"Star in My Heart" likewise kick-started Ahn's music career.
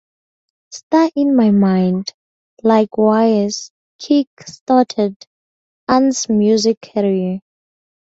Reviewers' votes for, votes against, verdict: 0, 4, rejected